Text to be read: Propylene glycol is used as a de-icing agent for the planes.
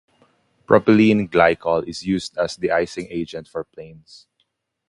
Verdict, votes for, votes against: rejected, 0, 2